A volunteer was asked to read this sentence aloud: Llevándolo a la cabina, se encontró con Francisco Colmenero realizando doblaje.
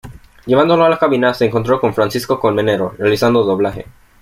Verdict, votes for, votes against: accepted, 2, 1